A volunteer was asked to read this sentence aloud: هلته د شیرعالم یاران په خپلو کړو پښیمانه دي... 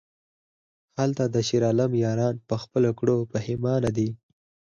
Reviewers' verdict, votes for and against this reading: accepted, 4, 0